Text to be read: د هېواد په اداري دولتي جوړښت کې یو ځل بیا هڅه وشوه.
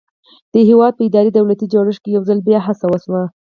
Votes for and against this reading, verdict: 4, 0, accepted